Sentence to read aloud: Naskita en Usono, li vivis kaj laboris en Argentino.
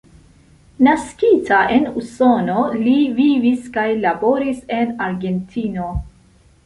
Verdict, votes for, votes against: accepted, 2, 0